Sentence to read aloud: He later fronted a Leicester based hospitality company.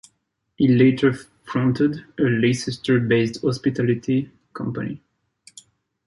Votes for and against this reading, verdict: 1, 2, rejected